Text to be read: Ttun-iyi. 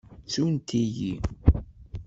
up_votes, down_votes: 0, 2